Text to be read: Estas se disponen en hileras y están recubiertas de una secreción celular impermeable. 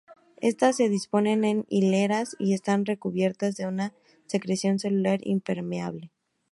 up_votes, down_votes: 2, 0